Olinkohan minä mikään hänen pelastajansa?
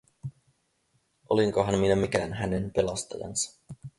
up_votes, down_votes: 4, 0